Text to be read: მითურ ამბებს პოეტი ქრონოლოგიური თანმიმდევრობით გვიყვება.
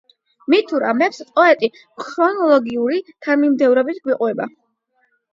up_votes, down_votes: 8, 0